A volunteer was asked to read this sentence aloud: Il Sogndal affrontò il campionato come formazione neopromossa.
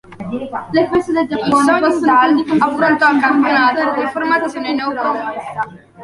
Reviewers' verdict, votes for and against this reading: rejected, 0, 3